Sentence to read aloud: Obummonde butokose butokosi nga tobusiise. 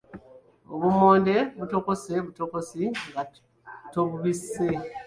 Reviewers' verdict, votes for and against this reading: rejected, 0, 2